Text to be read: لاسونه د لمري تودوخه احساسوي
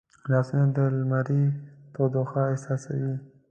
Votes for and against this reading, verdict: 0, 2, rejected